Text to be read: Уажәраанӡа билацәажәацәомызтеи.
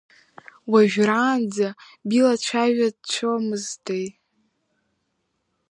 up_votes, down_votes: 1, 3